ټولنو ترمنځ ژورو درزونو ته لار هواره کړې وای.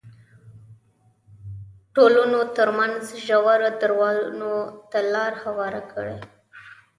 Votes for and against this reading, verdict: 2, 0, accepted